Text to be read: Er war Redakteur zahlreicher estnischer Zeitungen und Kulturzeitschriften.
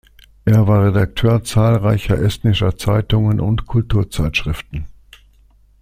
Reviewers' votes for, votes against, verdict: 2, 0, accepted